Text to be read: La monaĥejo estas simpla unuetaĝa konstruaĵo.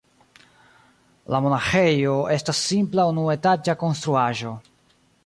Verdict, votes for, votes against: rejected, 1, 2